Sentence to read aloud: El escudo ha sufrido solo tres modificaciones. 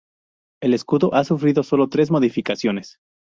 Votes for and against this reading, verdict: 2, 0, accepted